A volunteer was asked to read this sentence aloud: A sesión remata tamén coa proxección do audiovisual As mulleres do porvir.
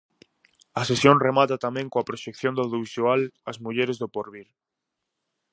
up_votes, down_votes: 4, 0